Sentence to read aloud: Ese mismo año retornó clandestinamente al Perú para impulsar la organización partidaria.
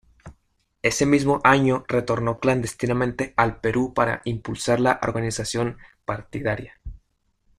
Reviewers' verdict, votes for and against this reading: rejected, 1, 2